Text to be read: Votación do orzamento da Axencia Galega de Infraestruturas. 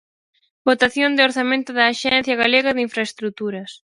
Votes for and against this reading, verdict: 4, 2, accepted